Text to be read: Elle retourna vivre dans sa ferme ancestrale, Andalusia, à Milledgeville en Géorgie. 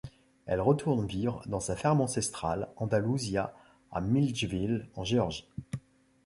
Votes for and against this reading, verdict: 0, 2, rejected